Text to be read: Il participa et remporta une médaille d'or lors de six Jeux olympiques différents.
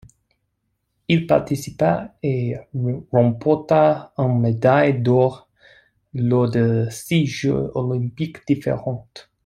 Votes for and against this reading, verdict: 1, 2, rejected